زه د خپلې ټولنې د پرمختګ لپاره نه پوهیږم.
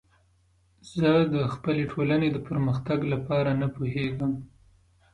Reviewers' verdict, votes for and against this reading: accepted, 2, 0